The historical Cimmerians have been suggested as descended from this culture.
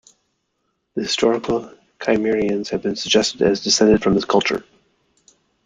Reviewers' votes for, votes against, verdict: 2, 0, accepted